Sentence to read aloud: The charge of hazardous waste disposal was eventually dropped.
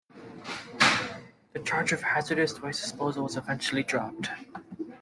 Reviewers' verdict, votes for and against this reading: accepted, 2, 0